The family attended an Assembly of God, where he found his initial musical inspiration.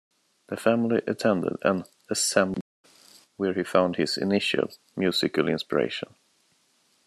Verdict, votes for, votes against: rejected, 1, 2